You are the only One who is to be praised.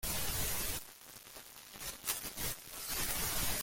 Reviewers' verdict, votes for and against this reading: rejected, 0, 2